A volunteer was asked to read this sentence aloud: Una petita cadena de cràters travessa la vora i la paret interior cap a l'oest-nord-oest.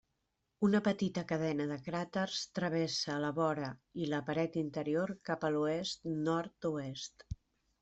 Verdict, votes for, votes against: accepted, 2, 0